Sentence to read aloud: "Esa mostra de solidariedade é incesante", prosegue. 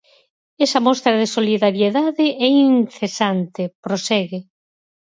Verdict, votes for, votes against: accepted, 4, 0